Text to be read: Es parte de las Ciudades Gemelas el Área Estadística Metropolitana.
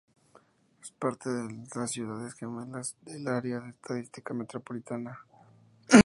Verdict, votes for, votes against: rejected, 2, 2